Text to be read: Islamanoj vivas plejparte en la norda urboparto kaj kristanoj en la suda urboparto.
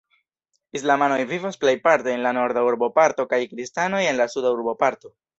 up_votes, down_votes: 2, 0